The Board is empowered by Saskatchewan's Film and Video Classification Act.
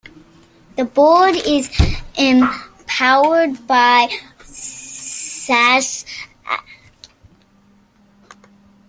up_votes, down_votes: 0, 2